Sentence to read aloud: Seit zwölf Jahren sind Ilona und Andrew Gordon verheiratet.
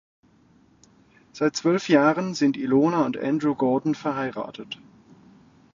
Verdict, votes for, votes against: accepted, 2, 0